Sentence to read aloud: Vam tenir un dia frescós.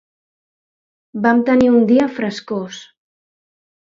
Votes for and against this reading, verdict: 2, 0, accepted